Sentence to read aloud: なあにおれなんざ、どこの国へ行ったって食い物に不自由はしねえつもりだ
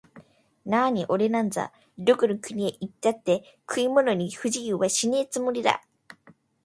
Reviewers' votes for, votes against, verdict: 2, 0, accepted